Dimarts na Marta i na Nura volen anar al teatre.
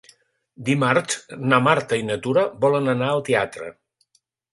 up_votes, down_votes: 1, 3